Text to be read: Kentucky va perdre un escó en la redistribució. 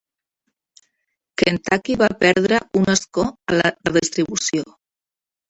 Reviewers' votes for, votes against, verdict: 1, 2, rejected